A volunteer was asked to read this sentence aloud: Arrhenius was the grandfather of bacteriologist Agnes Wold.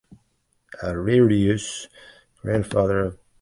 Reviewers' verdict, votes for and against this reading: rejected, 0, 2